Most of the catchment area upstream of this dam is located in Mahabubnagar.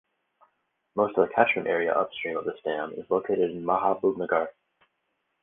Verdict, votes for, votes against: rejected, 2, 2